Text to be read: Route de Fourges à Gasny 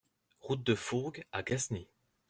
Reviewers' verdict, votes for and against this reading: rejected, 0, 2